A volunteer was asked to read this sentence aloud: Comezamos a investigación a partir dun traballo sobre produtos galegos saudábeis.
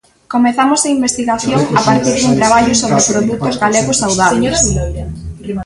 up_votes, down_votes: 0, 2